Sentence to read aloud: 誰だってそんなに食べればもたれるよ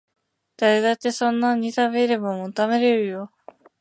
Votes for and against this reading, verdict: 0, 2, rejected